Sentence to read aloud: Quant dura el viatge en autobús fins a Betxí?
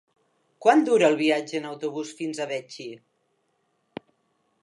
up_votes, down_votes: 0, 3